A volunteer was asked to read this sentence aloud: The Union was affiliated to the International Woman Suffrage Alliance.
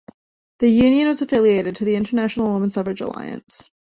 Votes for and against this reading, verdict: 1, 2, rejected